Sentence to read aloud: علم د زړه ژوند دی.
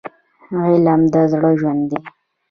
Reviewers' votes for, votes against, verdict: 2, 1, accepted